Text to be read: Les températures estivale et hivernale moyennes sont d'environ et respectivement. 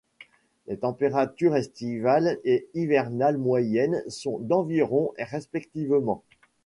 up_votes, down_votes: 2, 0